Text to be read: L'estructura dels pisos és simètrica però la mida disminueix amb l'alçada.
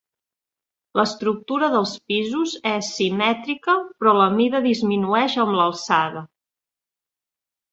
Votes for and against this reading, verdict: 2, 0, accepted